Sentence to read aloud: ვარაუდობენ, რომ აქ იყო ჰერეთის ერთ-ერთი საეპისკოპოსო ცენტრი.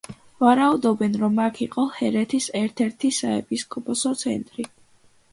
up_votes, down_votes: 2, 0